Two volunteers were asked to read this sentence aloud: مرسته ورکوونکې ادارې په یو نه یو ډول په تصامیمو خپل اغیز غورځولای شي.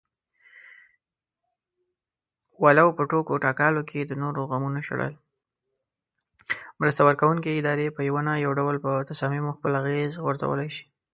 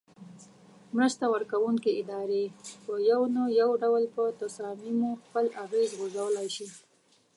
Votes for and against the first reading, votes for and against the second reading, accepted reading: 0, 2, 2, 0, second